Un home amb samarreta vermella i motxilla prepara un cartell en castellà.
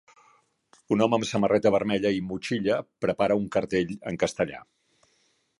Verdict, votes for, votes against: accepted, 4, 0